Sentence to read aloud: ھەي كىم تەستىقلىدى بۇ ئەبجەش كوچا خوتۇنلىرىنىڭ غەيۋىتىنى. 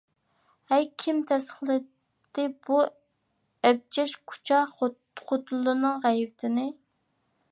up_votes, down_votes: 0, 2